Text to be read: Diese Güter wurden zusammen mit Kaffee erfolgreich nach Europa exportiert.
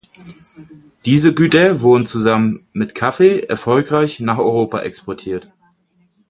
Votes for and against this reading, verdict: 4, 2, accepted